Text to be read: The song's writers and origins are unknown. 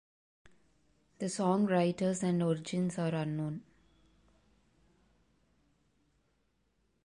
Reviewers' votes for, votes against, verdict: 0, 2, rejected